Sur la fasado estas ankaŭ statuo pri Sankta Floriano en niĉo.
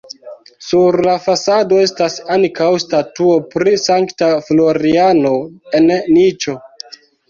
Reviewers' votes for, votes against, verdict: 0, 2, rejected